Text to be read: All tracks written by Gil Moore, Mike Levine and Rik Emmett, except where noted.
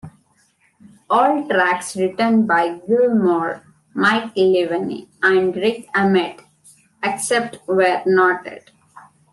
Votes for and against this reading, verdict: 1, 2, rejected